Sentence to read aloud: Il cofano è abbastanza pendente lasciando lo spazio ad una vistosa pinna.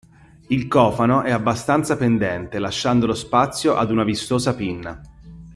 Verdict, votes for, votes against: accepted, 2, 0